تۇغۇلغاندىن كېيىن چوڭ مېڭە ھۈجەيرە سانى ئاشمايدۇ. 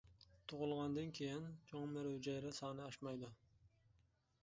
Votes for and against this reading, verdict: 1, 2, rejected